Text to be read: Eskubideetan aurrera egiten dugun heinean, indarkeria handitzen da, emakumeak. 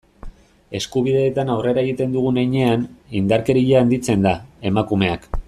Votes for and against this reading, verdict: 2, 0, accepted